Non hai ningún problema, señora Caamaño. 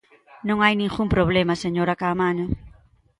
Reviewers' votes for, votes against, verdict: 2, 0, accepted